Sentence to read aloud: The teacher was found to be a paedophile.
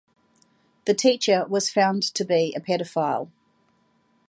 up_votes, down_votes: 2, 0